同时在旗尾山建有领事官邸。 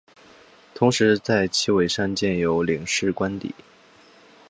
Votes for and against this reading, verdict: 5, 1, accepted